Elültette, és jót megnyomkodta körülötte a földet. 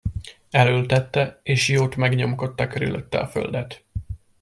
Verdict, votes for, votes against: rejected, 0, 2